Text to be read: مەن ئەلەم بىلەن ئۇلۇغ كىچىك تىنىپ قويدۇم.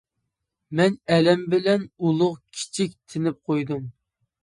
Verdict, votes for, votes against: accepted, 3, 0